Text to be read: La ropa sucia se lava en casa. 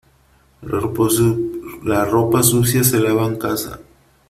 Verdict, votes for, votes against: rejected, 0, 3